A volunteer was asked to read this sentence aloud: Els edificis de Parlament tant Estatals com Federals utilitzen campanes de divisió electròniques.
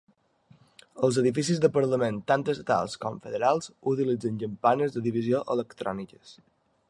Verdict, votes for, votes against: accepted, 2, 0